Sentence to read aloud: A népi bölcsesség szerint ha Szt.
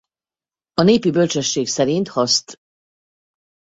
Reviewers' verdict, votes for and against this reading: rejected, 0, 2